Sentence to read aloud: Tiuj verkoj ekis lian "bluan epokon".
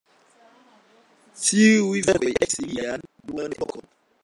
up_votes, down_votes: 2, 0